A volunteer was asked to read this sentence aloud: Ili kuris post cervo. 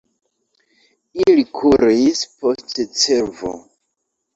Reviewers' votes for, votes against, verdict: 2, 1, accepted